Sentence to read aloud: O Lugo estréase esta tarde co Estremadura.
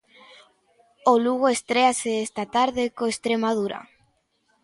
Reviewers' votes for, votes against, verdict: 2, 0, accepted